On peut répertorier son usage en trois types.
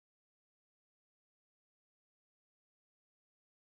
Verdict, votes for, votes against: rejected, 0, 2